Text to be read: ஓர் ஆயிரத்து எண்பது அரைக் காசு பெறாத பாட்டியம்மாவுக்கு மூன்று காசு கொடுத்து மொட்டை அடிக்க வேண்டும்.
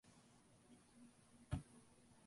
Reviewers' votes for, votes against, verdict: 0, 2, rejected